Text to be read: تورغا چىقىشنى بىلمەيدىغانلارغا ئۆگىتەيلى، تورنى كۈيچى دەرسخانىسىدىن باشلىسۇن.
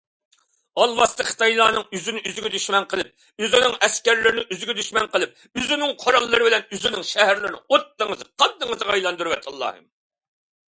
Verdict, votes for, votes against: rejected, 0, 2